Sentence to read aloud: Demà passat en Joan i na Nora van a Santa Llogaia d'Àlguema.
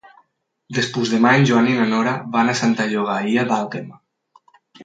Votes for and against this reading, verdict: 0, 4, rejected